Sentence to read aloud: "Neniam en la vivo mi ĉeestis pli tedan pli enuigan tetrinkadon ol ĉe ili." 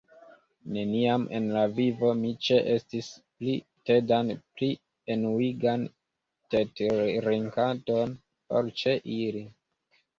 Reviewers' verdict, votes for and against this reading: rejected, 1, 2